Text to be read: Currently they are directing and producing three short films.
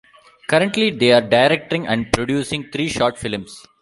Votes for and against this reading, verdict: 1, 2, rejected